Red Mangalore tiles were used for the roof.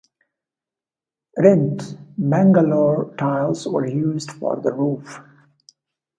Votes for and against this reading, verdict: 1, 2, rejected